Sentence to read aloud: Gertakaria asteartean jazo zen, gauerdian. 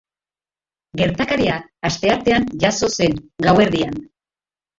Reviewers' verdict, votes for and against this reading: accepted, 2, 1